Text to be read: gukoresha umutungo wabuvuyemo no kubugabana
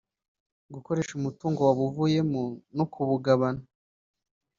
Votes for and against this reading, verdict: 2, 1, accepted